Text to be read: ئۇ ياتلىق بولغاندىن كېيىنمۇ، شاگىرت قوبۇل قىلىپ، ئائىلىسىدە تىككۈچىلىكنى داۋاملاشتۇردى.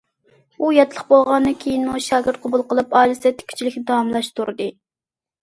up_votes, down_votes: 2, 1